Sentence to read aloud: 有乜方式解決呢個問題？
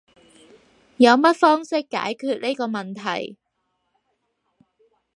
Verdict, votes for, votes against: accepted, 4, 0